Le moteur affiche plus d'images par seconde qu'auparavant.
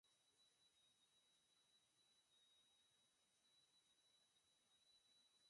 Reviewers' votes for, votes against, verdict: 0, 4, rejected